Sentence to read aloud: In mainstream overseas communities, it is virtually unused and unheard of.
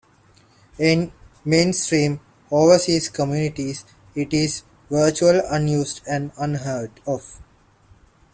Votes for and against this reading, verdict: 0, 2, rejected